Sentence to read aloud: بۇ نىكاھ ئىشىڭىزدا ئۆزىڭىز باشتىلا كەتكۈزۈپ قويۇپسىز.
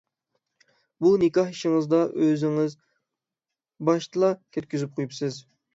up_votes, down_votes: 6, 0